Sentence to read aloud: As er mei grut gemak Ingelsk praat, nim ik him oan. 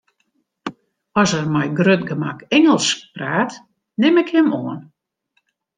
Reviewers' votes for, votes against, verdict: 2, 0, accepted